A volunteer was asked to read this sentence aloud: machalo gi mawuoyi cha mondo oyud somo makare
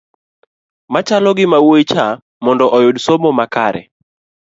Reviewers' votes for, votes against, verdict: 2, 0, accepted